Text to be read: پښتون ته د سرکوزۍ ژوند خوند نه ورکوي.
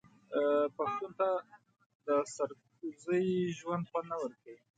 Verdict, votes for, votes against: rejected, 1, 2